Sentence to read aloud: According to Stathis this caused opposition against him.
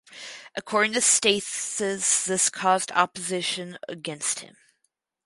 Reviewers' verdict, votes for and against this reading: rejected, 0, 4